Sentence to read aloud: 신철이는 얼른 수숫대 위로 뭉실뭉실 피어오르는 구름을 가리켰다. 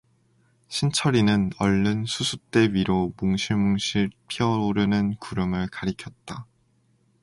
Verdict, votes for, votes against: accepted, 2, 0